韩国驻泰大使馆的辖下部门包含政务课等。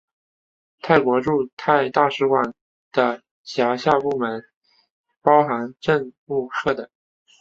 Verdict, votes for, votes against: rejected, 0, 3